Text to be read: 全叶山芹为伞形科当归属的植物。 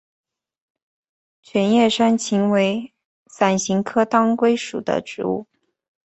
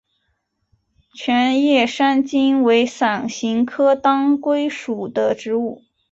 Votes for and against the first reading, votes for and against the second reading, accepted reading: 2, 1, 1, 2, first